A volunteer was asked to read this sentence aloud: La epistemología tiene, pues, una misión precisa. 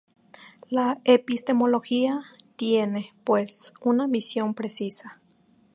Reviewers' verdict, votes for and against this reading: accepted, 2, 0